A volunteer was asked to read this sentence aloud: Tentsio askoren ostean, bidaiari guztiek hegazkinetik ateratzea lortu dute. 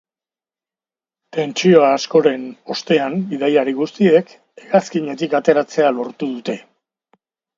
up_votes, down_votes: 2, 1